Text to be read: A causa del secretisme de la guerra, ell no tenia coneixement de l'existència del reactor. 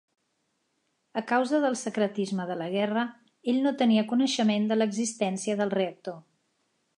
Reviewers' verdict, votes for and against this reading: accepted, 2, 0